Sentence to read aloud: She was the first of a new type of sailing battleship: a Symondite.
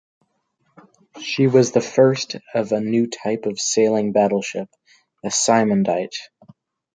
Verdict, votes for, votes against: accepted, 2, 0